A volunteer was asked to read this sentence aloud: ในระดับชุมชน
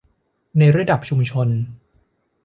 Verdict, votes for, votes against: accepted, 2, 0